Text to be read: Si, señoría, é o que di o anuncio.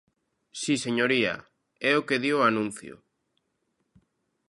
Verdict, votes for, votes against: accepted, 2, 0